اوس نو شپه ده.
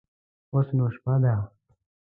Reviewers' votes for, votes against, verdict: 3, 0, accepted